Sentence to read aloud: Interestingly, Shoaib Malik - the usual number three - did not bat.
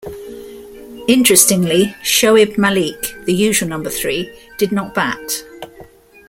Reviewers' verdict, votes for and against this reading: accepted, 2, 0